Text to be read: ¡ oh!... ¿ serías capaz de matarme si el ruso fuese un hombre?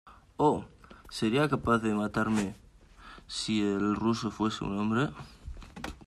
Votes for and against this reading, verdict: 2, 1, accepted